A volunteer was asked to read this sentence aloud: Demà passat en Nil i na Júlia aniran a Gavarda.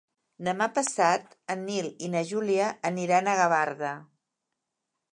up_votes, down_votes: 2, 0